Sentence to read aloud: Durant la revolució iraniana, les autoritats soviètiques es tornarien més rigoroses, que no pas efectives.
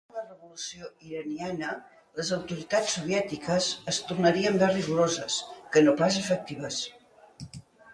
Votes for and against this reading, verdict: 0, 2, rejected